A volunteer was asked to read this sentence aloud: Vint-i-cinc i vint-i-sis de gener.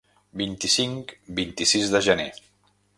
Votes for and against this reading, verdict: 0, 2, rejected